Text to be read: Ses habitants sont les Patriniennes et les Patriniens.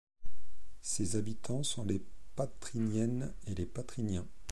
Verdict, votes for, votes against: accepted, 2, 0